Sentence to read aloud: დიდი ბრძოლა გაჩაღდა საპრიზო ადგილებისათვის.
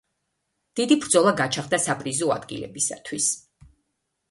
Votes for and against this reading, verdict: 2, 0, accepted